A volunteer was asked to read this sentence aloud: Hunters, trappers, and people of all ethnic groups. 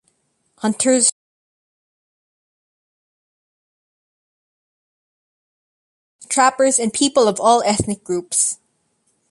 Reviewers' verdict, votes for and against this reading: rejected, 1, 2